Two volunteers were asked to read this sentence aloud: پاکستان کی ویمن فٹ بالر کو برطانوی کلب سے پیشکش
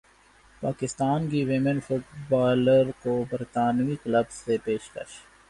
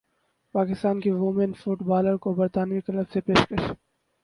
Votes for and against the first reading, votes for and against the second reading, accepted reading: 6, 0, 2, 2, first